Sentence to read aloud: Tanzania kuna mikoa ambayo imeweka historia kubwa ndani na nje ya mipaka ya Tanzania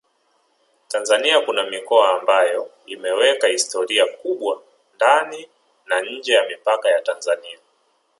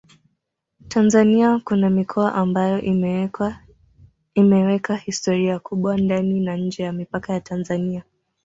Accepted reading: first